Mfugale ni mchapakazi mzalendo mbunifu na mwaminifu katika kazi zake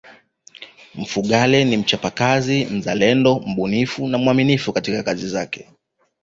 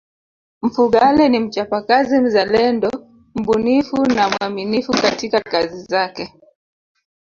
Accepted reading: first